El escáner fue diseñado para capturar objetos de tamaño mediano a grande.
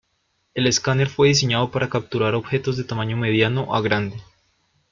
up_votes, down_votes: 2, 0